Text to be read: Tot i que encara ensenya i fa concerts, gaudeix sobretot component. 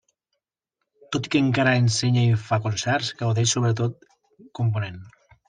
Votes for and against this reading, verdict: 2, 0, accepted